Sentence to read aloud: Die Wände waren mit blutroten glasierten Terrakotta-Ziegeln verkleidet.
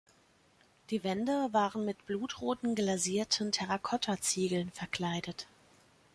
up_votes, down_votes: 2, 0